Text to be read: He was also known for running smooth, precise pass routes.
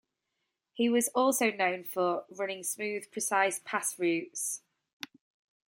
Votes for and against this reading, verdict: 2, 0, accepted